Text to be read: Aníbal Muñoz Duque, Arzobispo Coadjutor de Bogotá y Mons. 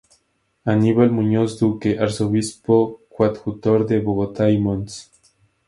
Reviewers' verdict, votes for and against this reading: accepted, 2, 0